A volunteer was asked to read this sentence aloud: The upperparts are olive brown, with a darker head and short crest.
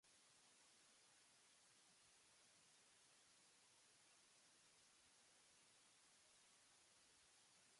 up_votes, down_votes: 0, 2